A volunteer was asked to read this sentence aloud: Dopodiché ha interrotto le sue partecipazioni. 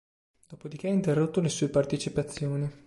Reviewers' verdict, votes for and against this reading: accepted, 2, 0